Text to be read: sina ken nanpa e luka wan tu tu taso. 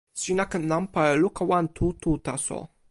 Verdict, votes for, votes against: accepted, 2, 0